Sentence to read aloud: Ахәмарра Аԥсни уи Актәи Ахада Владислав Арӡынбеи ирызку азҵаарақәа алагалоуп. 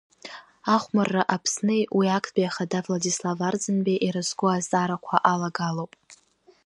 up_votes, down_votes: 2, 0